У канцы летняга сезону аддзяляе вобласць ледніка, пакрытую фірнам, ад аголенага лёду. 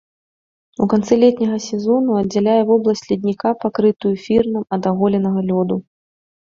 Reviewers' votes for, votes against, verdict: 3, 0, accepted